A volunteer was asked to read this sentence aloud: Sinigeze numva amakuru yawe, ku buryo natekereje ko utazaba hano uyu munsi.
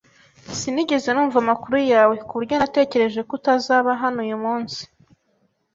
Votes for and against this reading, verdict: 2, 0, accepted